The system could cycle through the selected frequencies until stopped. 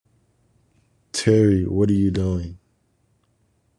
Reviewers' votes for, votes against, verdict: 0, 2, rejected